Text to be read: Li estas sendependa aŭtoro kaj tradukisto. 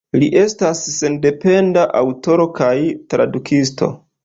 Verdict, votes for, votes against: accepted, 2, 0